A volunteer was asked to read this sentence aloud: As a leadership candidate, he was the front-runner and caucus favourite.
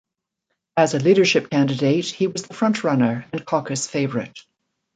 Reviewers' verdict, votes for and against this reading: accepted, 2, 0